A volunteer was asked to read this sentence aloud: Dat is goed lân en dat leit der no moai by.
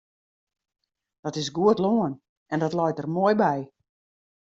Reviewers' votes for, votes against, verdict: 0, 2, rejected